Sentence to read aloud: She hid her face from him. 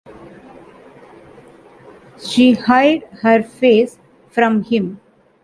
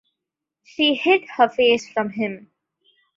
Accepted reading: second